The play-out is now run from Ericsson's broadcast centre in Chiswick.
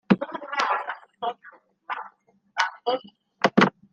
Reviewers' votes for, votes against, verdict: 0, 2, rejected